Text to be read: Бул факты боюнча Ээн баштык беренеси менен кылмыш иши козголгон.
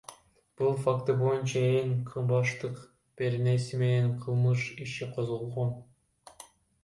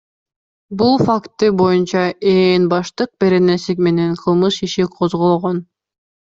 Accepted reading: second